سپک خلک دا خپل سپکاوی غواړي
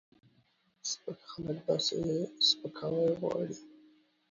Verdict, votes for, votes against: rejected, 1, 2